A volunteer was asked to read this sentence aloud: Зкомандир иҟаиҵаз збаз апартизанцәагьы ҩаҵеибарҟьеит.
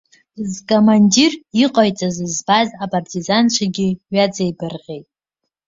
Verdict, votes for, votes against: rejected, 1, 2